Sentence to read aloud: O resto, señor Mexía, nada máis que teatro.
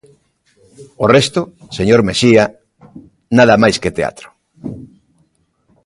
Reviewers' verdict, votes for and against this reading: accepted, 2, 0